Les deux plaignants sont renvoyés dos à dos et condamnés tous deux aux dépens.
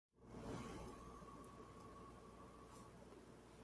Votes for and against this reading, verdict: 0, 2, rejected